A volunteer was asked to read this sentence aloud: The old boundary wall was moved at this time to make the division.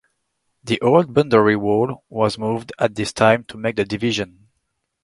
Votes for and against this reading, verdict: 1, 2, rejected